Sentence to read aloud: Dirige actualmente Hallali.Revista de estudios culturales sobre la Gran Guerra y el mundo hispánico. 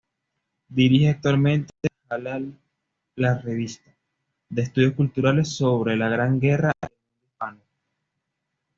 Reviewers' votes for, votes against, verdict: 1, 2, rejected